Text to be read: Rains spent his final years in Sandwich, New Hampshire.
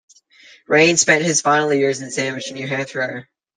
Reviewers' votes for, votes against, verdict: 1, 2, rejected